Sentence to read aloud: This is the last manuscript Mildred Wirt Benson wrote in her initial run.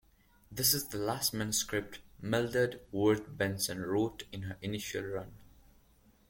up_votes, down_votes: 2, 0